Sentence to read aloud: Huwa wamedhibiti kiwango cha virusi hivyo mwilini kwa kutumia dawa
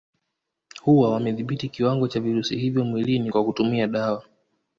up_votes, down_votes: 1, 2